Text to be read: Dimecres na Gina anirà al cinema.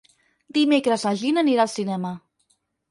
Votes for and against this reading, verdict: 6, 0, accepted